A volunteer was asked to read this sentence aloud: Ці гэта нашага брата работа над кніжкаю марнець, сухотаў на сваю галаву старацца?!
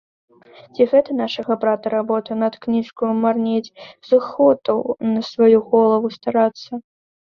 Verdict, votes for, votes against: rejected, 1, 2